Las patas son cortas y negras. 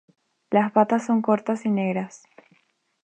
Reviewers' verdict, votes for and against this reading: accepted, 2, 0